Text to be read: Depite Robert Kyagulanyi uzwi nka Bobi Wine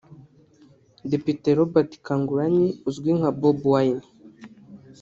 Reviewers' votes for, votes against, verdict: 1, 2, rejected